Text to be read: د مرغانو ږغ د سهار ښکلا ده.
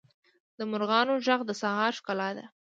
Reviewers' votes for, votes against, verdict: 2, 0, accepted